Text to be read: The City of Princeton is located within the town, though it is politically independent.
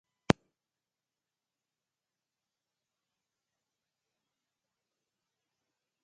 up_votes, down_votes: 0, 2